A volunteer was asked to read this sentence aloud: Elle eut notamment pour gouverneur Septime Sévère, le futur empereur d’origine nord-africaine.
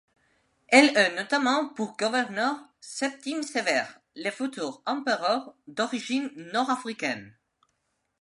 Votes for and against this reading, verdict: 1, 2, rejected